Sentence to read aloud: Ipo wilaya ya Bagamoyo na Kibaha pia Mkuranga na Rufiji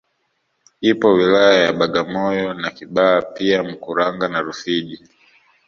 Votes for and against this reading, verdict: 2, 0, accepted